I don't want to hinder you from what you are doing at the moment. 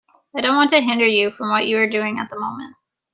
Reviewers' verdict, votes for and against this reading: accepted, 2, 0